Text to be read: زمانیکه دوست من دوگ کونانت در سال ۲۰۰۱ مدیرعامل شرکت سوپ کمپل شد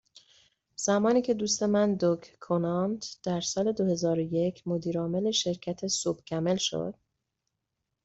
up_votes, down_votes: 0, 2